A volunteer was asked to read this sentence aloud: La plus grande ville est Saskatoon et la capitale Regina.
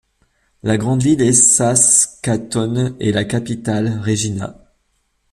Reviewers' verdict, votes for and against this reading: rejected, 1, 2